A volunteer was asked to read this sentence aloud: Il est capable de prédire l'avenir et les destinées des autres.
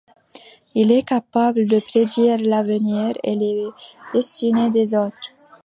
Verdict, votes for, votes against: accepted, 2, 1